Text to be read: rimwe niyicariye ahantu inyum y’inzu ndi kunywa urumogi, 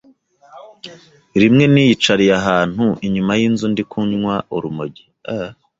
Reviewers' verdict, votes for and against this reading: rejected, 0, 2